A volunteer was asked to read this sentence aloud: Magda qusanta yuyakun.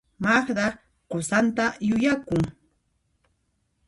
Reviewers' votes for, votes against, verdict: 2, 0, accepted